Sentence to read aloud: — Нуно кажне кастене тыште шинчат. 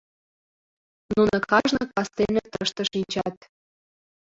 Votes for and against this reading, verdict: 0, 2, rejected